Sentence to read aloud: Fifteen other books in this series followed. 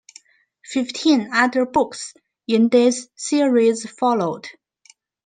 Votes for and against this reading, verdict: 2, 0, accepted